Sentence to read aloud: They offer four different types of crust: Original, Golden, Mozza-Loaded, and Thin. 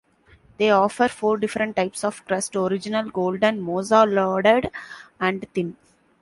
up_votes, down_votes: 2, 0